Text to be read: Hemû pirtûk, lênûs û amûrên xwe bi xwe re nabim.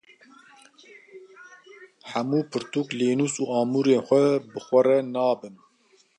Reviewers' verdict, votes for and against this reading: accepted, 2, 0